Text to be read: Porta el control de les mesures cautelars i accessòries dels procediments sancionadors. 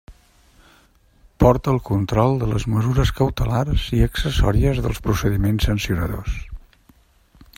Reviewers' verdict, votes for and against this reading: accepted, 2, 0